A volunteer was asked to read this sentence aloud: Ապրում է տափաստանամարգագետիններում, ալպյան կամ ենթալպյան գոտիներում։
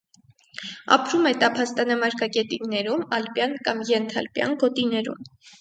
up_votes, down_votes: 4, 0